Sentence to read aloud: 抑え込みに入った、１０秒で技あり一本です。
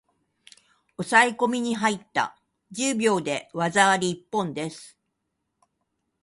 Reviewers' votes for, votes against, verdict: 0, 2, rejected